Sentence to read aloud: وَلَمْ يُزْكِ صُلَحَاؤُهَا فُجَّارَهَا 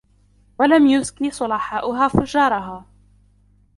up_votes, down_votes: 1, 2